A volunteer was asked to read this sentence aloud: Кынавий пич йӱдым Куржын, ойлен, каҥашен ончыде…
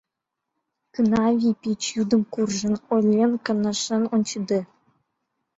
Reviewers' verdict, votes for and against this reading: accepted, 2, 0